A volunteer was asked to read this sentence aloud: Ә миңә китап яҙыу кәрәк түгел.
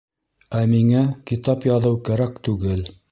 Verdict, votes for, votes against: rejected, 2, 3